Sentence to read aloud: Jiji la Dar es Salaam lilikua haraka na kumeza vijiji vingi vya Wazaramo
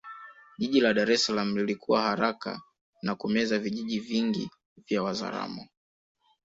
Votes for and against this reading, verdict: 3, 1, accepted